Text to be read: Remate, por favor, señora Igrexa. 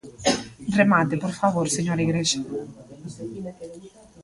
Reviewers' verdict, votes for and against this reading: rejected, 0, 2